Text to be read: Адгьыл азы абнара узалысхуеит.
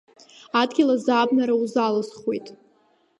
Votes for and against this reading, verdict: 3, 0, accepted